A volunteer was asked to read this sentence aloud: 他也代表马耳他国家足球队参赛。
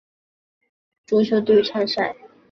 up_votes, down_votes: 0, 2